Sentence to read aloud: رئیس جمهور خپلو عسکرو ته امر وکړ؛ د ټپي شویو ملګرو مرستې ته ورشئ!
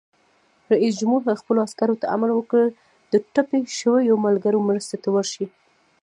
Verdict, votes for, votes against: rejected, 1, 2